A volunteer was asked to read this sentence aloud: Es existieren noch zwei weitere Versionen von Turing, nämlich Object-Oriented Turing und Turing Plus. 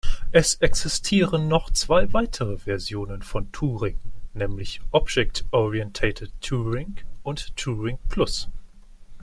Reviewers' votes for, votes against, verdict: 1, 2, rejected